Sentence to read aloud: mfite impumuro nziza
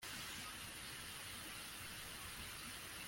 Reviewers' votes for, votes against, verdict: 0, 2, rejected